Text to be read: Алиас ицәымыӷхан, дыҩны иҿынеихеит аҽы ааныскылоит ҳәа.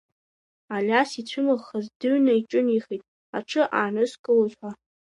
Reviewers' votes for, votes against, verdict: 2, 1, accepted